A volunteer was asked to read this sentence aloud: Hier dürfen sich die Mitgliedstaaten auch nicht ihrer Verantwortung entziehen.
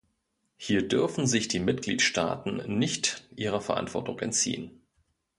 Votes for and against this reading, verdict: 0, 2, rejected